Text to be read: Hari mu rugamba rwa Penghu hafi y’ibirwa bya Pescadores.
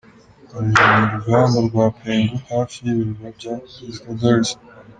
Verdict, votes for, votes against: accepted, 2, 1